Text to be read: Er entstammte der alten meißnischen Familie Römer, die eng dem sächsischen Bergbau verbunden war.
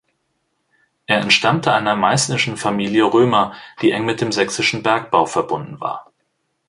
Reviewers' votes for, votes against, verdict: 0, 2, rejected